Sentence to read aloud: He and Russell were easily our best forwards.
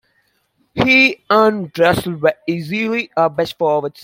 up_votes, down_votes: 1, 2